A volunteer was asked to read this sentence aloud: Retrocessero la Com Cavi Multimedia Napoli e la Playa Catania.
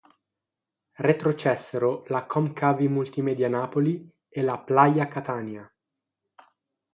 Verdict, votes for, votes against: accepted, 6, 0